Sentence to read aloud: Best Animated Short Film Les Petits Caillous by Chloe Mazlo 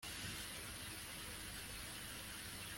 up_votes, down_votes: 0, 2